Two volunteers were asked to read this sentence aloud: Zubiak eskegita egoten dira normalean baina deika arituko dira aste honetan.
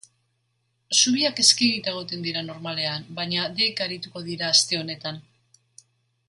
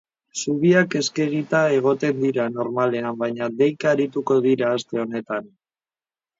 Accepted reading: first